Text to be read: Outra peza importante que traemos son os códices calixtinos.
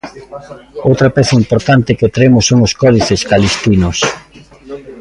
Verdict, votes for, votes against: accepted, 2, 1